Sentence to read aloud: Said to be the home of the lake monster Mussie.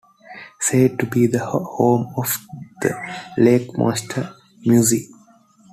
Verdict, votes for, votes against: rejected, 1, 2